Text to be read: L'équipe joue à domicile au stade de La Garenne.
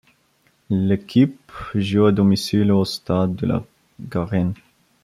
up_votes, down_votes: 2, 0